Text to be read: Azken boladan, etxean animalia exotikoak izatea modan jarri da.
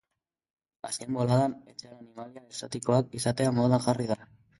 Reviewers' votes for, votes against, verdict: 2, 1, accepted